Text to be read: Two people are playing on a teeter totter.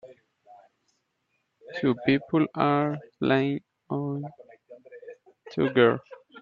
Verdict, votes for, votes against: rejected, 0, 4